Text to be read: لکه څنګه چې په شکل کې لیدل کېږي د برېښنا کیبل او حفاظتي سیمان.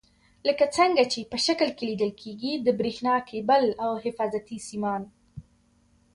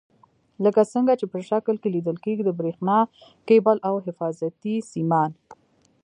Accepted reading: second